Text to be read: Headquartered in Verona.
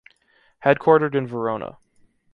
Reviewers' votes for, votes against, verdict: 2, 0, accepted